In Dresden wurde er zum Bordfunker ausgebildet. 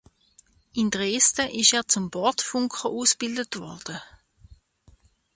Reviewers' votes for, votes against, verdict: 0, 2, rejected